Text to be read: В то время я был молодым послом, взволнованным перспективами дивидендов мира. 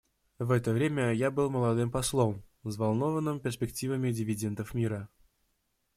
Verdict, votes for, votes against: rejected, 0, 2